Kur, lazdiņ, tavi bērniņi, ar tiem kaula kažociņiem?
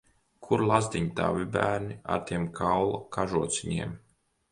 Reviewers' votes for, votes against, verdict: 1, 3, rejected